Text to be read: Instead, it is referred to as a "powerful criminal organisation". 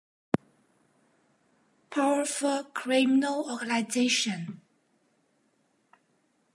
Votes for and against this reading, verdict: 0, 2, rejected